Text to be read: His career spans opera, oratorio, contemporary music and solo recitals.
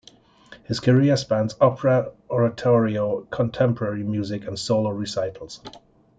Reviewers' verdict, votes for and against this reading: accepted, 2, 0